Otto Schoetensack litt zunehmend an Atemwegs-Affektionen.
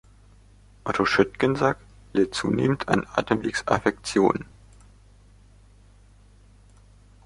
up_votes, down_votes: 0, 2